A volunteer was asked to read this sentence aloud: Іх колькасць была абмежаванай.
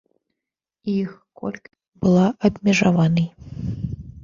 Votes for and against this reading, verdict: 1, 2, rejected